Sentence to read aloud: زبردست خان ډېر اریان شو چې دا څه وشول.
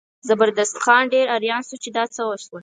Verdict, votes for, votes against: accepted, 14, 0